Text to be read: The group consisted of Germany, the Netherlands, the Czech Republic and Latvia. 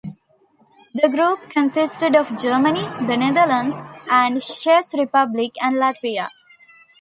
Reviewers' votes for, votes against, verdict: 1, 2, rejected